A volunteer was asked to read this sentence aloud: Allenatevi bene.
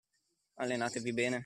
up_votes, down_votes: 2, 1